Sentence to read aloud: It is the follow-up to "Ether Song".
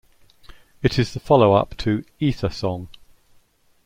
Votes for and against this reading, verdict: 2, 0, accepted